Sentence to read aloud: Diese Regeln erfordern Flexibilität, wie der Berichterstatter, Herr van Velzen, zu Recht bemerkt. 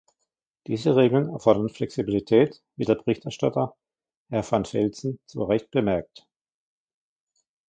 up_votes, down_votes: 1, 2